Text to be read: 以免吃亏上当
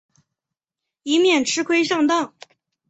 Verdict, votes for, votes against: accepted, 2, 0